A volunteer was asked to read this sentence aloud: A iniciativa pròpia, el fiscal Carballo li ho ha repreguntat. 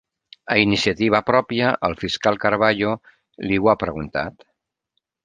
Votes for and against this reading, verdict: 1, 2, rejected